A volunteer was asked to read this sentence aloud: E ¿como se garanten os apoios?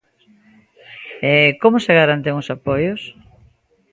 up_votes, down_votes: 2, 1